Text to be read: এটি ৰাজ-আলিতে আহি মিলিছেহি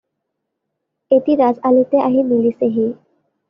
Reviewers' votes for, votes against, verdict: 2, 0, accepted